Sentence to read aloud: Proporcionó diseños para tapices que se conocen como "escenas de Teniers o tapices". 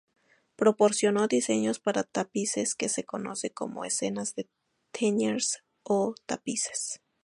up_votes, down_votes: 2, 0